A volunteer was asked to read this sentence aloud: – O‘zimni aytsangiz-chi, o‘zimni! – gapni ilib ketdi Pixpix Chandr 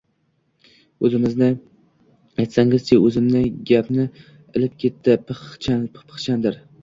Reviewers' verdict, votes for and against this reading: rejected, 0, 2